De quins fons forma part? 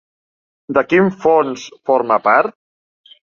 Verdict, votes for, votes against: rejected, 1, 2